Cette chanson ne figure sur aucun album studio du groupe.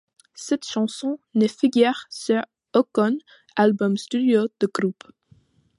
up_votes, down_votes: 0, 2